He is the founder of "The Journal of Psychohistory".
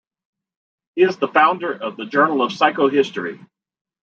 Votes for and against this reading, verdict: 2, 0, accepted